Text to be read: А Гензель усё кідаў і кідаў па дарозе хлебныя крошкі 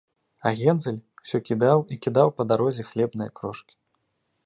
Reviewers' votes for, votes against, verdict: 3, 0, accepted